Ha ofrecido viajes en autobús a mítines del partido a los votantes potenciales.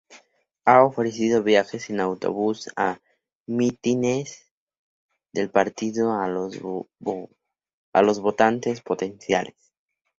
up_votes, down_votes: 0, 2